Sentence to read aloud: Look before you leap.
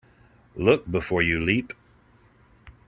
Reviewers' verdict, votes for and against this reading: accepted, 2, 0